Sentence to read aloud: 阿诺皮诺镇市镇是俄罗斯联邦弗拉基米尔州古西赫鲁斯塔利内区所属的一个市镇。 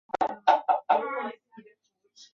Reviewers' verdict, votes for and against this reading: rejected, 0, 4